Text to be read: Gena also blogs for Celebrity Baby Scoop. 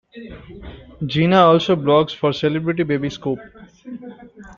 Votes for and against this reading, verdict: 2, 1, accepted